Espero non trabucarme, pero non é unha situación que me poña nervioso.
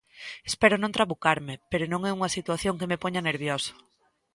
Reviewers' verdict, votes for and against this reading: accepted, 2, 0